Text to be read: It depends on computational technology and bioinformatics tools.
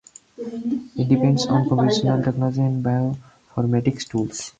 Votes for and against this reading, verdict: 0, 4, rejected